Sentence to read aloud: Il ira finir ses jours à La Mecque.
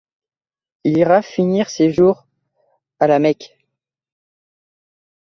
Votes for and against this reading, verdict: 2, 0, accepted